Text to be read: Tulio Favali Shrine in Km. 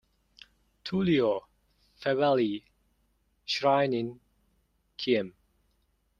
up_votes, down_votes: 0, 2